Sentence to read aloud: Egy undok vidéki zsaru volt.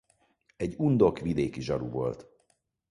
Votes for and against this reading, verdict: 4, 0, accepted